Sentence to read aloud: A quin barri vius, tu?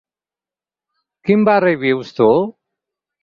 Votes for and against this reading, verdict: 0, 4, rejected